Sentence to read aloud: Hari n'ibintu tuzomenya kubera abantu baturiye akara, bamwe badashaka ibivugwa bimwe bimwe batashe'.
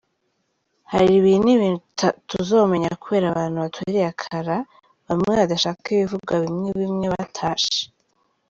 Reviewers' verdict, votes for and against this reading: rejected, 0, 2